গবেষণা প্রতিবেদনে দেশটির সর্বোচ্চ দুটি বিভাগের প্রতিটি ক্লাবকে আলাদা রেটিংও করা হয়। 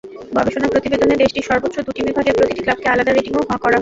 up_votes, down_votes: 0, 2